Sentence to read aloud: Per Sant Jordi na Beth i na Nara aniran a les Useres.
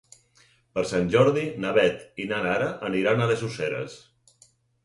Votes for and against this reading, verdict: 4, 0, accepted